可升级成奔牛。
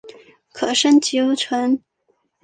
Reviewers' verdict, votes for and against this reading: rejected, 1, 2